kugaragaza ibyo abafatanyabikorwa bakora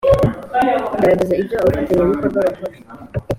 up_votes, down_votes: 2, 0